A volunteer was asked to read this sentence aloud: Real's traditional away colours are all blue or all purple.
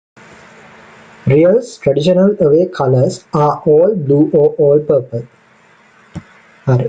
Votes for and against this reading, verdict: 0, 2, rejected